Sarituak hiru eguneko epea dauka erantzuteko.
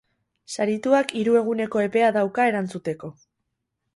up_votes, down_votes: 2, 0